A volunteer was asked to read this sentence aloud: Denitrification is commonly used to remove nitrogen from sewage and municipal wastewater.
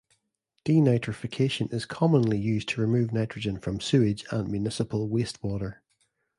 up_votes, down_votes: 2, 0